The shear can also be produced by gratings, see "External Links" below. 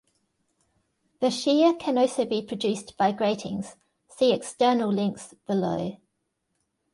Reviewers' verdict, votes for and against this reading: accepted, 2, 0